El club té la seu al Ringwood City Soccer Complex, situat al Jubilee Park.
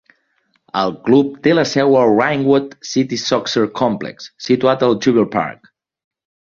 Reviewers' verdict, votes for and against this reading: accepted, 2, 1